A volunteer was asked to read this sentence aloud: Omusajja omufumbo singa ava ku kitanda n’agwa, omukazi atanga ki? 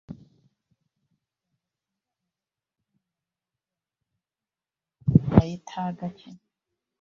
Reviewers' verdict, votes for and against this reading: rejected, 0, 2